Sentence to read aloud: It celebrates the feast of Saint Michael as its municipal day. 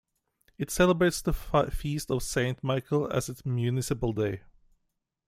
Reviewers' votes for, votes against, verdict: 1, 2, rejected